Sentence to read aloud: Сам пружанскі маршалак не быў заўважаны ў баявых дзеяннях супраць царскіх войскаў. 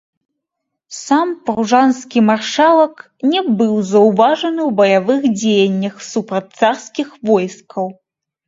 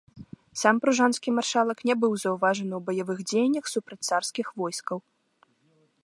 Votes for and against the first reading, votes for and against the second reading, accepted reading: 0, 2, 2, 0, second